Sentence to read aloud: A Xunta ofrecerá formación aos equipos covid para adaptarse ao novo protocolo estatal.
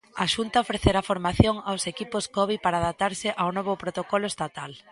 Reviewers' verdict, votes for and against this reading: accepted, 2, 0